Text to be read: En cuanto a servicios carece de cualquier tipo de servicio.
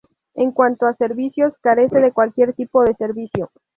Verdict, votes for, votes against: accepted, 2, 0